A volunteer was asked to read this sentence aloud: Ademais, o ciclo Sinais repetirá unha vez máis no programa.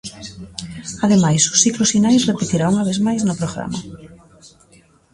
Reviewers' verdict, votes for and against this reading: accepted, 2, 0